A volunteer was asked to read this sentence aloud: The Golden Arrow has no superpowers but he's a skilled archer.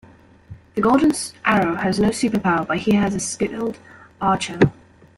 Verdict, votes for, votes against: rejected, 0, 2